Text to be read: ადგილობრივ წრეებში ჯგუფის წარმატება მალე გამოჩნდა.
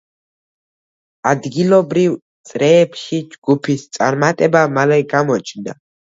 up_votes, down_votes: 2, 0